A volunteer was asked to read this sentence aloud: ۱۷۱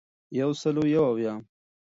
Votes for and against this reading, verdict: 0, 2, rejected